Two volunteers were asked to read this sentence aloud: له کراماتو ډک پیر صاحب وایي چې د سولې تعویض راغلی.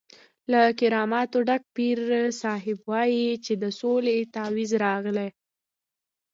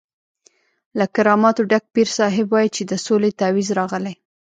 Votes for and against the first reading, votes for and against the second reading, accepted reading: 2, 0, 1, 2, first